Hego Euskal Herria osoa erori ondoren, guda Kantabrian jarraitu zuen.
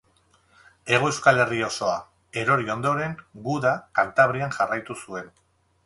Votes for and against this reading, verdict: 2, 2, rejected